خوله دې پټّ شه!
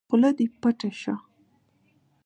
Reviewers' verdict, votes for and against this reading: accepted, 2, 1